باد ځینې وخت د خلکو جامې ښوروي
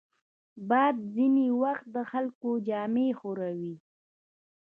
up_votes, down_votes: 1, 2